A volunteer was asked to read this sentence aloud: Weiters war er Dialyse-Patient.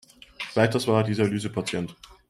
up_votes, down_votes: 0, 2